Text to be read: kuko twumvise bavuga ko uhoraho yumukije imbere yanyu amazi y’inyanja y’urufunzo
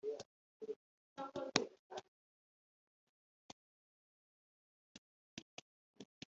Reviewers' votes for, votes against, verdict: 1, 2, rejected